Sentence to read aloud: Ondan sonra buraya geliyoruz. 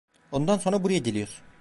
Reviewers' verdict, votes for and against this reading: rejected, 0, 2